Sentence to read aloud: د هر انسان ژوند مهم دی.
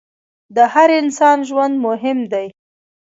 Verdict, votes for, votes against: accepted, 2, 0